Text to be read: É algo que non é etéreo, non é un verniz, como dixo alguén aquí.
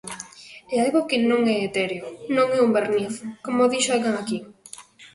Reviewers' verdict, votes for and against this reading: rejected, 0, 2